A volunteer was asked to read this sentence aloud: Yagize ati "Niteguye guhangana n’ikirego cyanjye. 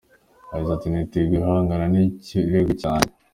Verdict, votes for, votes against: accepted, 2, 0